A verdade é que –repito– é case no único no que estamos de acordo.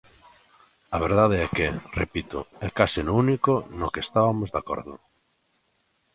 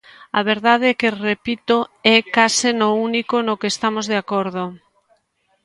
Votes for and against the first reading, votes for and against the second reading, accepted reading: 1, 2, 2, 0, second